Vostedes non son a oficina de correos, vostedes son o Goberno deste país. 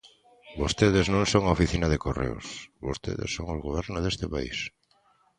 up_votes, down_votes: 2, 0